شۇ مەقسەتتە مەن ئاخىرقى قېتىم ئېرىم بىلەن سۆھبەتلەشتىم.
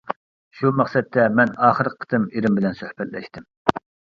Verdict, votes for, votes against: rejected, 1, 2